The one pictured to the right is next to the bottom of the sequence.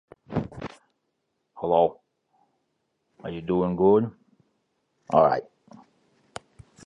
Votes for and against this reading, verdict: 0, 2, rejected